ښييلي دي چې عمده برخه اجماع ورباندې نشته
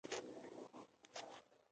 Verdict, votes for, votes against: rejected, 0, 2